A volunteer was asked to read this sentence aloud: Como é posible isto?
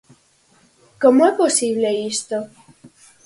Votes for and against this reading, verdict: 4, 0, accepted